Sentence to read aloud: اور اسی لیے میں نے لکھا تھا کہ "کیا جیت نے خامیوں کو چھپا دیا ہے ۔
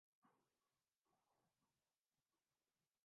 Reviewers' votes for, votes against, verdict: 0, 2, rejected